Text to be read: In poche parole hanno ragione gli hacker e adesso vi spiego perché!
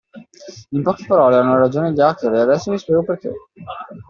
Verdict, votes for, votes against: accepted, 2, 1